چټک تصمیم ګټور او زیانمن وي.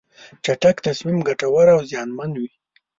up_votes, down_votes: 2, 0